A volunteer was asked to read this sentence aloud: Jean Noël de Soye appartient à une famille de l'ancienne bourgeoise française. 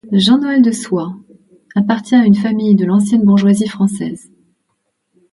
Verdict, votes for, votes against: accepted, 2, 0